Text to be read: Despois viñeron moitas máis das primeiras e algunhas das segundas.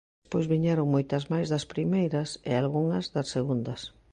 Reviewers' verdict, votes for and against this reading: rejected, 1, 2